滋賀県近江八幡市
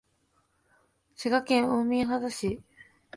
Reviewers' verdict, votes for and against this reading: rejected, 1, 2